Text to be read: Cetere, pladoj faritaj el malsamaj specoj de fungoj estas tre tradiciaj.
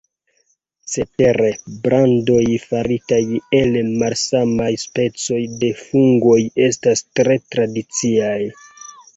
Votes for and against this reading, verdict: 1, 3, rejected